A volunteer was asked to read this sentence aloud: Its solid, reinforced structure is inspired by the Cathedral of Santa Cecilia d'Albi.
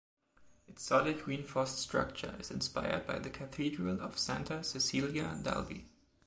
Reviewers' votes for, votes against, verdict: 0, 2, rejected